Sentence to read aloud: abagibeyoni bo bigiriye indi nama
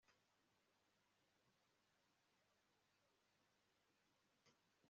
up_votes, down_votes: 0, 2